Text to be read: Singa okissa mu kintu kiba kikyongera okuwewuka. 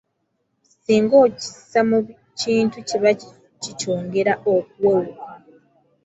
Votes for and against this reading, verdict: 2, 0, accepted